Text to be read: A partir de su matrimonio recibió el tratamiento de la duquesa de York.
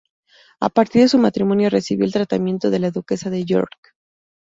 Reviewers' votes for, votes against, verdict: 2, 0, accepted